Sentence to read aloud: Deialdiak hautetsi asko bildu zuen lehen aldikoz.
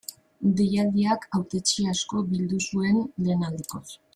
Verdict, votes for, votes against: accepted, 2, 0